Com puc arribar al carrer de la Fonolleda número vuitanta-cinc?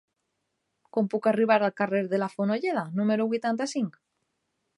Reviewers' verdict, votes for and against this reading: accepted, 3, 0